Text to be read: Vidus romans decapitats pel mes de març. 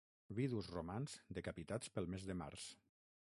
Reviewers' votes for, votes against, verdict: 3, 6, rejected